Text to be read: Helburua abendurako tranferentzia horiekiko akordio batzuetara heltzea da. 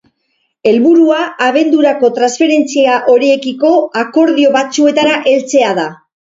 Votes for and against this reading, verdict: 2, 2, rejected